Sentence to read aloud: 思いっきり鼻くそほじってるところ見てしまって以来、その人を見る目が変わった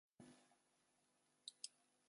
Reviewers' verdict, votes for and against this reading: rejected, 0, 2